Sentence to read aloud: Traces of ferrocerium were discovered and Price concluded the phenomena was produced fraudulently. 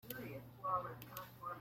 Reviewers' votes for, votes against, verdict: 0, 2, rejected